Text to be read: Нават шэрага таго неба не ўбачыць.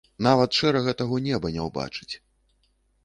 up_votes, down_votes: 3, 0